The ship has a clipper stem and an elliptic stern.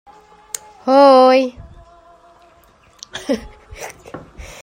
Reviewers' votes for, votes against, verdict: 0, 2, rejected